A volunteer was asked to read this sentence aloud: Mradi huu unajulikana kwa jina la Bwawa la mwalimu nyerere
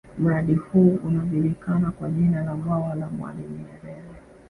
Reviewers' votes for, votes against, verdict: 2, 1, accepted